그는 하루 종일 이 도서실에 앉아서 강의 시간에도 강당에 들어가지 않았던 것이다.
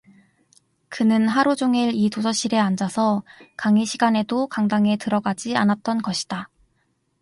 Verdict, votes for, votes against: accepted, 2, 0